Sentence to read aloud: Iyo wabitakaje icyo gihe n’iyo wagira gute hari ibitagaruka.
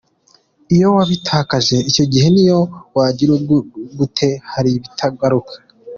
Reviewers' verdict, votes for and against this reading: rejected, 0, 2